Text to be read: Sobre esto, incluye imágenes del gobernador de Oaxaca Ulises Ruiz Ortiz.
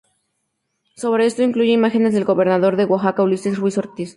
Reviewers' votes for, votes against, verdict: 2, 0, accepted